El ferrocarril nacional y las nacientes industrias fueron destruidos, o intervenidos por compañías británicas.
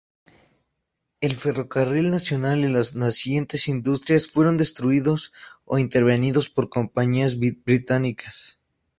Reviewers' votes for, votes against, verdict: 0, 2, rejected